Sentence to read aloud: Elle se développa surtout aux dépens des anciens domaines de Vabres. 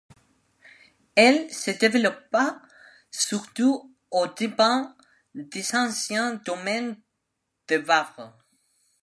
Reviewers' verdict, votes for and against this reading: accepted, 2, 0